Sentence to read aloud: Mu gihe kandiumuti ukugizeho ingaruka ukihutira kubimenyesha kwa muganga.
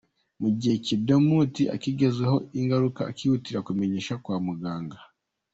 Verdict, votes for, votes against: rejected, 0, 2